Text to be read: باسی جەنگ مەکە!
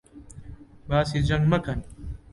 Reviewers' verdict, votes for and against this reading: rejected, 0, 2